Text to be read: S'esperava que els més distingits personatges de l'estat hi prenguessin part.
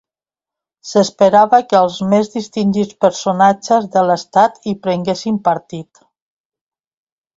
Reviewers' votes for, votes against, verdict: 1, 2, rejected